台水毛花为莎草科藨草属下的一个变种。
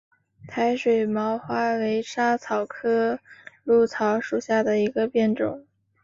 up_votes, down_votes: 2, 0